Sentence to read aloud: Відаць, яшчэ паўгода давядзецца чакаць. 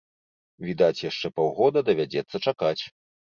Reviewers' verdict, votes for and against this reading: accepted, 2, 0